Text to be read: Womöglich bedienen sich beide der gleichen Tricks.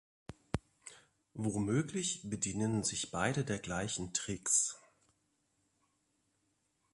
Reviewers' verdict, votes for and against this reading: accepted, 2, 0